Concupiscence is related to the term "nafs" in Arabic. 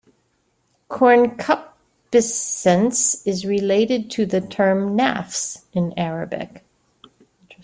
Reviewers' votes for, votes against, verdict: 1, 2, rejected